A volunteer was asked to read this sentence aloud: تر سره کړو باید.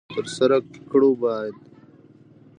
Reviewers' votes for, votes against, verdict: 0, 3, rejected